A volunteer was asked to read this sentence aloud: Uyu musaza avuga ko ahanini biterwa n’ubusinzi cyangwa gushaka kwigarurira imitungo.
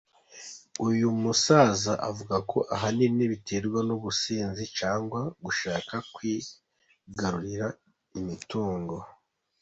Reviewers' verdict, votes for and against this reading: accepted, 2, 0